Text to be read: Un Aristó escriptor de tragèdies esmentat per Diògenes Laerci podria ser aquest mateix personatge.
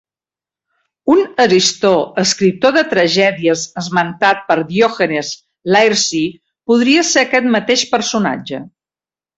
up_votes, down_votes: 1, 2